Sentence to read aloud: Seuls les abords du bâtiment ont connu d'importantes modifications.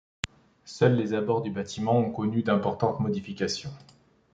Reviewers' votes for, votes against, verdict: 2, 0, accepted